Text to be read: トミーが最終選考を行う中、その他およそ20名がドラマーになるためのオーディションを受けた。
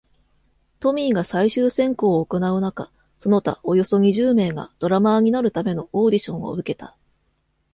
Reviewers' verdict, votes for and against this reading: rejected, 0, 2